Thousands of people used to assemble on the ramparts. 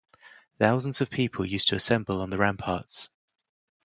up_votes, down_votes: 2, 0